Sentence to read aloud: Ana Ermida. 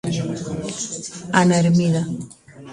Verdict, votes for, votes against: accepted, 2, 1